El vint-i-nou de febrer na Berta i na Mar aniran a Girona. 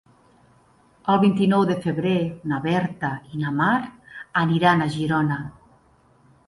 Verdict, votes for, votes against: accepted, 4, 0